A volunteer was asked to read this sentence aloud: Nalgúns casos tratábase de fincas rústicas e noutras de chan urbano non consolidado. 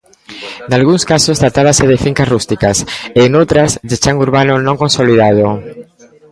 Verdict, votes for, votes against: accepted, 2, 0